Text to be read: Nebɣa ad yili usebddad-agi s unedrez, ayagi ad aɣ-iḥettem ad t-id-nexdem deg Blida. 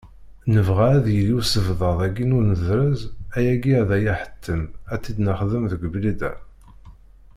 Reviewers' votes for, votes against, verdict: 1, 2, rejected